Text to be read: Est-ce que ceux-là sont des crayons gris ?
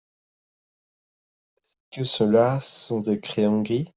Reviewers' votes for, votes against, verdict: 0, 2, rejected